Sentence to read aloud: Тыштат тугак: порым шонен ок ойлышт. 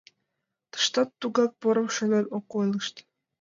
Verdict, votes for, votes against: accepted, 2, 0